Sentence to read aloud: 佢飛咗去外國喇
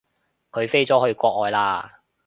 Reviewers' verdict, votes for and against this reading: rejected, 1, 2